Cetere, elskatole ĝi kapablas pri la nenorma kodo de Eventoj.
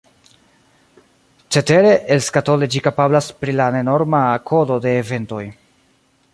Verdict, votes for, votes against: accepted, 2, 0